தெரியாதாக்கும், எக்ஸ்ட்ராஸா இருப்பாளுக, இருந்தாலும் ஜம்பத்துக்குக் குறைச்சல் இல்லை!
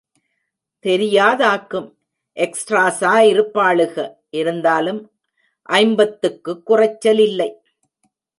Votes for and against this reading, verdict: 1, 2, rejected